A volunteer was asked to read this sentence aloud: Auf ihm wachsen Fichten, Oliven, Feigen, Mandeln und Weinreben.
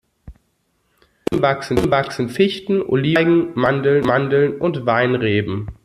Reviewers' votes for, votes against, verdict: 0, 2, rejected